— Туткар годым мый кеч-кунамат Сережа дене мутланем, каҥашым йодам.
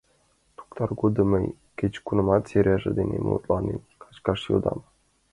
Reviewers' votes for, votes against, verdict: 1, 2, rejected